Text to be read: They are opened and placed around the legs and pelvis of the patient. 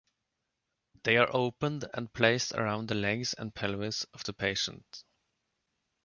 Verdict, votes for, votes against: accepted, 2, 0